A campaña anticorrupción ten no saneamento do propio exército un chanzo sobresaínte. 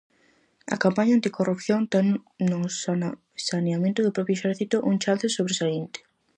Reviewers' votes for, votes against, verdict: 0, 4, rejected